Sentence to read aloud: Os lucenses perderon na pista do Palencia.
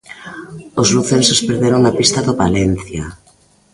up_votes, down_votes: 2, 0